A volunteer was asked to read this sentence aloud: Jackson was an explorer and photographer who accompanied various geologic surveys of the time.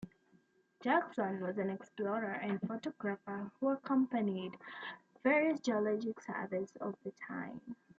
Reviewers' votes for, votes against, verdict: 2, 0, accepted